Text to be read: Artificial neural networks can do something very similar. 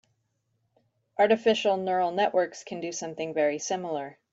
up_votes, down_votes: 2, 0